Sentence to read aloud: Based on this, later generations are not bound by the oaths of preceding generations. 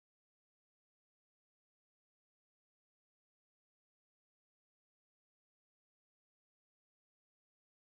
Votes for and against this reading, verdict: 0, 2, rejected